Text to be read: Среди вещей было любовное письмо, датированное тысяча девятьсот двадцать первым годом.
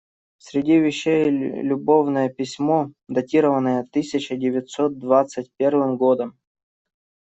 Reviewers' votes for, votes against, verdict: 0, 2, rejected